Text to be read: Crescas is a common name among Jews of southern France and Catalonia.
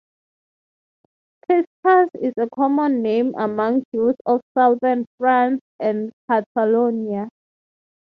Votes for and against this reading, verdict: 3, 3, rejected